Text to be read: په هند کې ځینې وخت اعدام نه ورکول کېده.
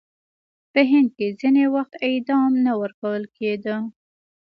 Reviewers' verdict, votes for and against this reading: accepted, 2, 0